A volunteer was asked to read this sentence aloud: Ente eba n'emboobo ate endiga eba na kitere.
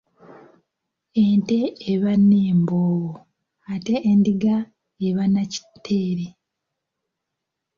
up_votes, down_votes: 0, 2